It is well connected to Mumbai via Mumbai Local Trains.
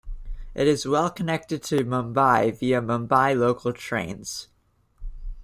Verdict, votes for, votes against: accepted, 2, 1